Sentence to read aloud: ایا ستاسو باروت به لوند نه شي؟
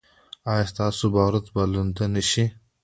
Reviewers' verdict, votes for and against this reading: accepted, 2, 1